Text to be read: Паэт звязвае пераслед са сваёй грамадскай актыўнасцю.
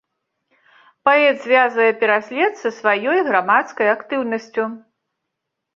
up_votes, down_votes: 3, 0